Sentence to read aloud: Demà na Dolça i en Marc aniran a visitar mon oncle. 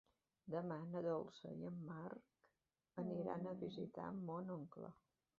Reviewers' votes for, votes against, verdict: 0, 2, rejected